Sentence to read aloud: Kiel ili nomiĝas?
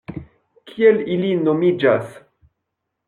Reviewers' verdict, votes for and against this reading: accepted, 2, 1